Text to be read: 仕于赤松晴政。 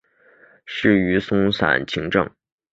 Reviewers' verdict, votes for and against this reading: rejected, 1, 3